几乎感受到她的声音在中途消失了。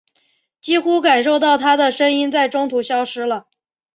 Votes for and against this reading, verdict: 2, 0, accepted